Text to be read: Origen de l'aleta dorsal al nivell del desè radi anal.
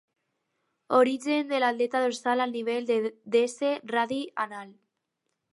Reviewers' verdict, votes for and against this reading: rejected, 0, 4